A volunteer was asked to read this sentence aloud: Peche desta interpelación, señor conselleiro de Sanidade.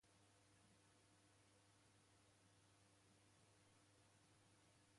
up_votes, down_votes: 0, 2